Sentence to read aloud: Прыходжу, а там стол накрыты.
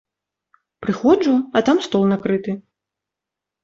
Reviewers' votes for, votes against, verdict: 2, 0, accepted